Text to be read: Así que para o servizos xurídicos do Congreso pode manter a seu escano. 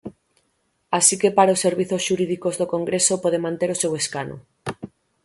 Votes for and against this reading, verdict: 0, 3, rejected